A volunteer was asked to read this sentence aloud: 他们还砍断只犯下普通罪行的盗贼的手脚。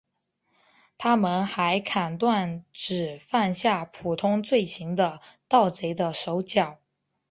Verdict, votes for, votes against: accepted, 2, 0